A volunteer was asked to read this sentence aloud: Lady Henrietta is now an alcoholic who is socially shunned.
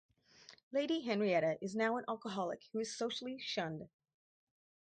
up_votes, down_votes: 4, 0